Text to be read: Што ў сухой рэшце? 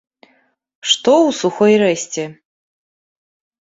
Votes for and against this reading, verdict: 1, 2, rejected